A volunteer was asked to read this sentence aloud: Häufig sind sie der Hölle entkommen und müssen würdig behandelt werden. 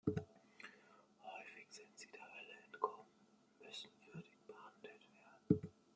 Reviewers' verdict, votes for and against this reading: rejected, 1, 2